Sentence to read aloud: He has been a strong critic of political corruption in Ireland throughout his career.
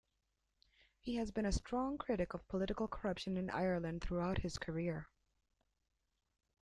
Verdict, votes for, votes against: accepted, 2, 0